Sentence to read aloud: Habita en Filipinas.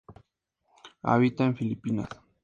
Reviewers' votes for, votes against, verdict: 2, 0, accepted